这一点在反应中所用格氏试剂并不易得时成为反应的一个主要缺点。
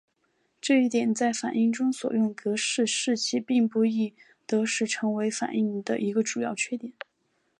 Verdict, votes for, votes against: accepted, 8, 0